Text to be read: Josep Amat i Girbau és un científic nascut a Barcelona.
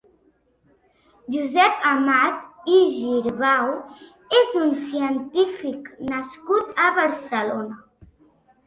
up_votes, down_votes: 3, 0